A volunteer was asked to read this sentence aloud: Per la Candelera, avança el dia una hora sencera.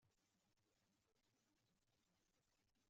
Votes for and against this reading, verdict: 0, 2, rejected